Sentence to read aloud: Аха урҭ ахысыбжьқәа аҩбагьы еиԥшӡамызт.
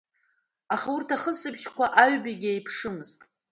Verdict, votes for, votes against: rejected, 0, 2